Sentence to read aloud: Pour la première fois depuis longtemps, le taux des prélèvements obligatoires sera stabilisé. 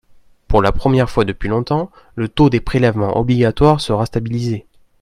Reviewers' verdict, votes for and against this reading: accepted, 2, 0